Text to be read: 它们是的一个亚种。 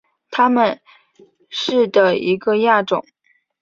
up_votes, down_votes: 2, 0